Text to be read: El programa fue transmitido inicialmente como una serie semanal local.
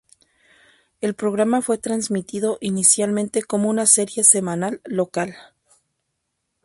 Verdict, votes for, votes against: accepted, 2, 0